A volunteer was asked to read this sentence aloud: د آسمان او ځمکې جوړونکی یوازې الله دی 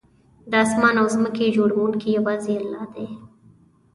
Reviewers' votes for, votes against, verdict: 2, 0, accepted